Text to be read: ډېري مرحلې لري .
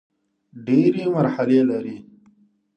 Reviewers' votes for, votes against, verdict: 2, 0, accepted